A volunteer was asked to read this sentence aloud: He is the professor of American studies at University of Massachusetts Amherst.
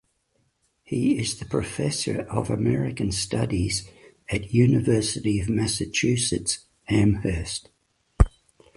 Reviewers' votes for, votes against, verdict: 2, 0, accepted